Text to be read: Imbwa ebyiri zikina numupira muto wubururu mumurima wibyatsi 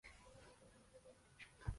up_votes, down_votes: 0, 2